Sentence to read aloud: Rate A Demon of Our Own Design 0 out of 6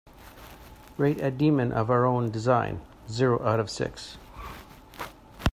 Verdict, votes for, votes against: rejected, 0, 2